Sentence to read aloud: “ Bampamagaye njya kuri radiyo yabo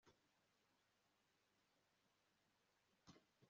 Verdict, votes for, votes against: rejected, 1, 2